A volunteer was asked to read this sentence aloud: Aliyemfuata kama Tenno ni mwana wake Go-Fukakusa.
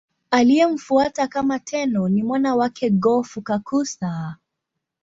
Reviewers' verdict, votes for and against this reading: accepted, 2, 0